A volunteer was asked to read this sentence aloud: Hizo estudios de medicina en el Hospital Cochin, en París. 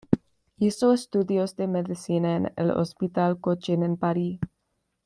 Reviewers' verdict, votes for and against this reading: accepted, 2, 0